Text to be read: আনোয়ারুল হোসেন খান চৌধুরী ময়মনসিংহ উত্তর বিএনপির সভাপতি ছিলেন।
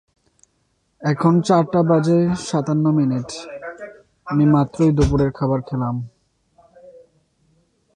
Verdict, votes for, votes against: rejected, 0, 2